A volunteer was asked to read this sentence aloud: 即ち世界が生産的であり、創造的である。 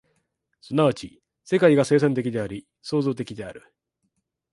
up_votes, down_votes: 2, 0